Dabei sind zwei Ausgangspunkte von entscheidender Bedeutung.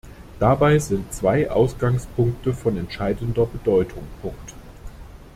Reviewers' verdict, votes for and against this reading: rejected, 0, 3